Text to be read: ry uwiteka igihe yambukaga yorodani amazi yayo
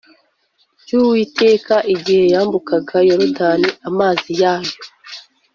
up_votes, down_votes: 2, 0